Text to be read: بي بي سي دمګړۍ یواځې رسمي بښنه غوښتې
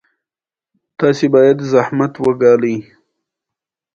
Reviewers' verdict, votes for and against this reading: accepted, 2, 0